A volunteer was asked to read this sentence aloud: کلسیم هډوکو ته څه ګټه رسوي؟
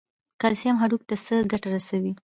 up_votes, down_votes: 2, 0